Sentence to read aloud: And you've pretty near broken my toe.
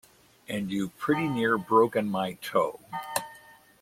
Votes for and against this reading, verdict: 2, 0, accepted